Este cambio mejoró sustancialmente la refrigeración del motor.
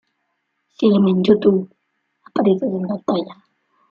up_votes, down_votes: 0, 2